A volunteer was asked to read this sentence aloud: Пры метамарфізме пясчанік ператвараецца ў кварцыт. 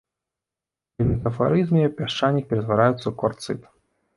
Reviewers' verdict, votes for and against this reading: rejected, 0, 2